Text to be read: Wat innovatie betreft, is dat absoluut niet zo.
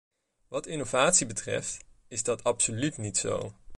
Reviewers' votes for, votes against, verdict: 2, 0, accepted